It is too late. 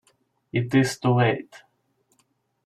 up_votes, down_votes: 2, 0